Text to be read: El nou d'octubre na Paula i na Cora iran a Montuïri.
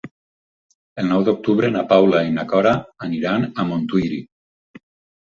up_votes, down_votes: 0, 4